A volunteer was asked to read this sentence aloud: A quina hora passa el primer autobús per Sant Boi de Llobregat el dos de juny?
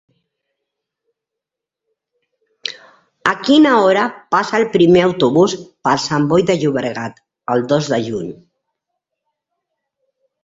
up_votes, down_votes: 3, 1